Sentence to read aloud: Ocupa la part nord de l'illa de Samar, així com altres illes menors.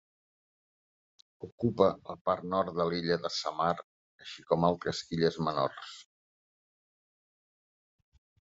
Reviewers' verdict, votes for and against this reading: rejected, 0, 2